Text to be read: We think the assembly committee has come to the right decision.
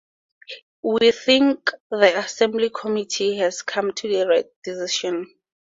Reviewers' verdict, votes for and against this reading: rejected, 2, 2